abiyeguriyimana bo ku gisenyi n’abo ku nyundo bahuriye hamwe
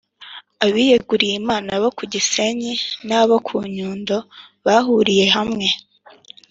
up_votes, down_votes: 3, 0